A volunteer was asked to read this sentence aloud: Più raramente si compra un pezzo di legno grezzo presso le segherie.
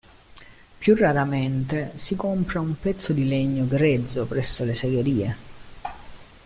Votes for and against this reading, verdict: 2, 0, accepted